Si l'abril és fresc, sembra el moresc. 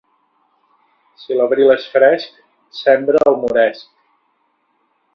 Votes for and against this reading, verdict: 1, 2, rejected